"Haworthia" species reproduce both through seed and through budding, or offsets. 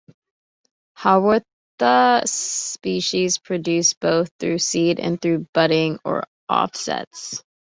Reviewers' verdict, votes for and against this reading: rejected, 1, 2